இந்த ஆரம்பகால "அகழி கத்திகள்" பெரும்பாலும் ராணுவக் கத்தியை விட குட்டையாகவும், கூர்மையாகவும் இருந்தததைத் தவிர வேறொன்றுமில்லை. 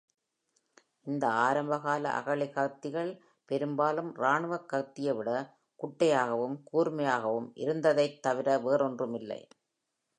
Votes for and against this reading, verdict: 2, 0, accepted